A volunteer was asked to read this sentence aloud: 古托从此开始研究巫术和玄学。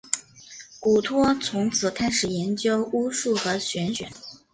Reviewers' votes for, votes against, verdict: 3, 0, accepted